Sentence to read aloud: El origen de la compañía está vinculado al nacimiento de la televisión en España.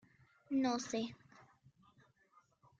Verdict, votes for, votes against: rejected, 0, 2